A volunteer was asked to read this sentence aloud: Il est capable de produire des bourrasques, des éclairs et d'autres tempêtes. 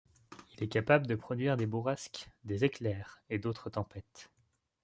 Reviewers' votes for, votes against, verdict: 2, 0, accepted